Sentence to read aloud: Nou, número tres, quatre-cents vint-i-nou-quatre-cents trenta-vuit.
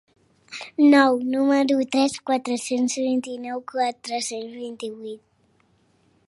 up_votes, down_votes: 1, 3